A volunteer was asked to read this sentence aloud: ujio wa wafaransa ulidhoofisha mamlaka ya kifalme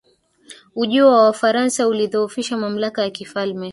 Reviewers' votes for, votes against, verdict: 1, 2, rejected